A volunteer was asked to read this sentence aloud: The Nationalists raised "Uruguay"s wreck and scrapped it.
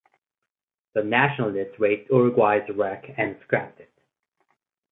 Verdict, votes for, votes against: accepted, 4, 0